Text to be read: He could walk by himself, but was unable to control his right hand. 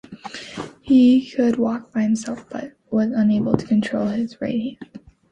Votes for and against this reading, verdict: 2, 0, accepted